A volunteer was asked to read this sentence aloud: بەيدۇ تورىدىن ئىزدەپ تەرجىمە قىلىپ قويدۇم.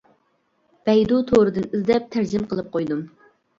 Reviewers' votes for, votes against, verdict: 2, 0, accepted